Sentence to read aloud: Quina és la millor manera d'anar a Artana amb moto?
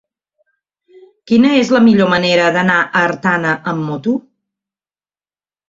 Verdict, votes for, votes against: accepted, 6, 0